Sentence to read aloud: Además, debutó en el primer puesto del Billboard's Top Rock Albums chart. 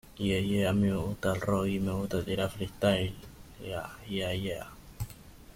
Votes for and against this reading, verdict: 0, 2, rejected